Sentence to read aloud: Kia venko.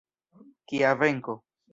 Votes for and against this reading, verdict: 2, 0, accepted